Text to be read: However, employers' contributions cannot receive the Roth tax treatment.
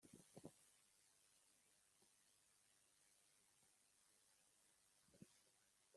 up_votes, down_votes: 0, 2